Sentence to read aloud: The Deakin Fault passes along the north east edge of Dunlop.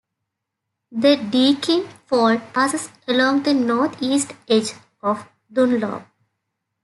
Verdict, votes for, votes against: accepted, 2, 0